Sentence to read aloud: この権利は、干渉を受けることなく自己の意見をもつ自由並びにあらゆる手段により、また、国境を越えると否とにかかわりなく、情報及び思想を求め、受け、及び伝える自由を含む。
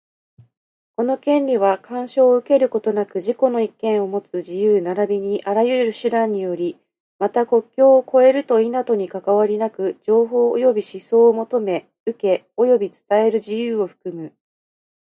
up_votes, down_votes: 1, 2